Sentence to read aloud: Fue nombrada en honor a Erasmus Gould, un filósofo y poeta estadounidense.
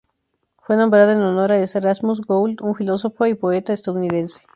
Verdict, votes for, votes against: accepted, 2, 0